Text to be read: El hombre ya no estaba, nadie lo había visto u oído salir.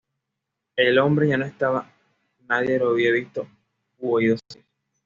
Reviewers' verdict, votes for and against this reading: accepted, 2, 0